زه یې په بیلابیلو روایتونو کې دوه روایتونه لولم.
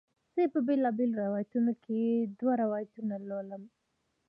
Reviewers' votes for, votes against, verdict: 2, 1, accepted